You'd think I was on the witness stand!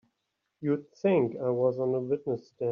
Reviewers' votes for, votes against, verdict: 2, 3, rejected